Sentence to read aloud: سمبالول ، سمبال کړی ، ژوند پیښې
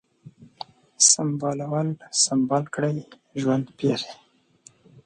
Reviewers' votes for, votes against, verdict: 2, 0, accepted